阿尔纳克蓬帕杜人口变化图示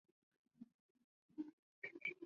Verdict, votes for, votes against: rejected, 0, 2